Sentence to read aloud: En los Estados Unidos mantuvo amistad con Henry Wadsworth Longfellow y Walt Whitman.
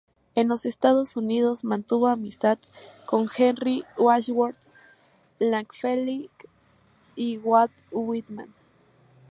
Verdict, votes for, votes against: accepted, 2, 0